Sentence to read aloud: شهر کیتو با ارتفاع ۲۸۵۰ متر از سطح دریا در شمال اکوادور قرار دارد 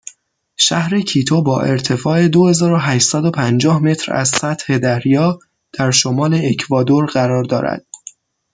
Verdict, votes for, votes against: rejected, 0, 2